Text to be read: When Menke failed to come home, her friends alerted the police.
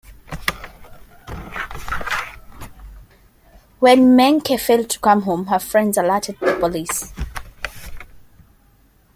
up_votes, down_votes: 2, 0